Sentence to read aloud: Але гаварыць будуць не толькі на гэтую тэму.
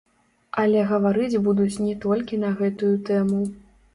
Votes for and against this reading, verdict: 0, 2, rejected